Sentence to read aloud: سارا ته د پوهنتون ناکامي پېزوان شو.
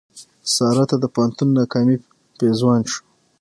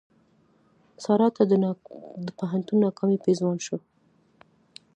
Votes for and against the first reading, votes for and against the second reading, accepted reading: 3, 6, 2, 1, second